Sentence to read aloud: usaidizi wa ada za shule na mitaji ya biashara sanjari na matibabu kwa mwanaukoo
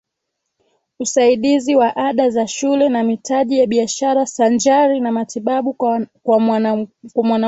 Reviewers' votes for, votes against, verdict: 2, 0, accepted